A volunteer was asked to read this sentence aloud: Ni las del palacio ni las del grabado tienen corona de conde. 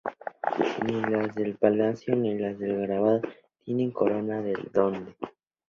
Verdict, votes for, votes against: rejected, 0, 2